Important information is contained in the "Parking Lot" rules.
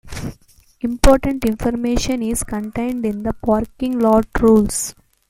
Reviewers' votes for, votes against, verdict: 1, 2, rejected